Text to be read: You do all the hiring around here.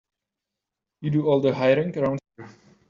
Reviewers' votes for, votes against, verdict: 0, 3, rejected